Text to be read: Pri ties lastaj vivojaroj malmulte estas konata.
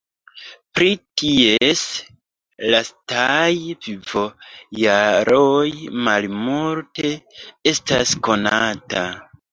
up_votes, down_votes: 0, 2